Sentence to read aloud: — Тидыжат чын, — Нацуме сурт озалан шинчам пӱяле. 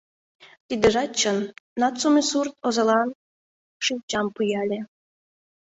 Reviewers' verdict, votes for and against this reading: rejected, 0, 2